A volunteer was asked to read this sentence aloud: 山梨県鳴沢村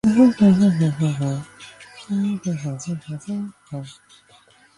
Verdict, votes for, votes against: rejected, 0, 2